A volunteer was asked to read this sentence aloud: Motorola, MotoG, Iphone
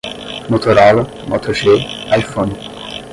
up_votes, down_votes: 10, 0